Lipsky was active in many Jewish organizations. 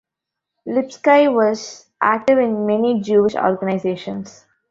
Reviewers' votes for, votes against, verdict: 1, 2, rejected